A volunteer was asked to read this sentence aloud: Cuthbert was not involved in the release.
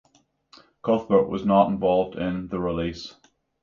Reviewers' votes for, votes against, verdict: 3, 3, rejected